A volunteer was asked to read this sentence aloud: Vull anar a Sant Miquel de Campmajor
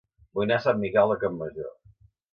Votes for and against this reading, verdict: 1, 2, rejected